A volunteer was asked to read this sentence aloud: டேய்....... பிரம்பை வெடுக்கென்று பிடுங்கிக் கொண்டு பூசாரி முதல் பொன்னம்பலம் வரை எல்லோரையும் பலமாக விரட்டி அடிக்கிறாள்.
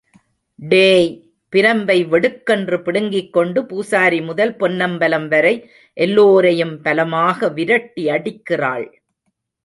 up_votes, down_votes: 0, 2